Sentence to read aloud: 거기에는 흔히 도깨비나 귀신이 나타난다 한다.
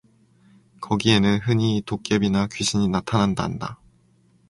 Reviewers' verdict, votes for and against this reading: accepted, 4, 0